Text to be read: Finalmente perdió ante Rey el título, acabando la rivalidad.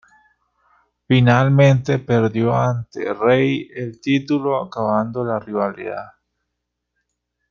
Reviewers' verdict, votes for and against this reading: rejected, 0, 2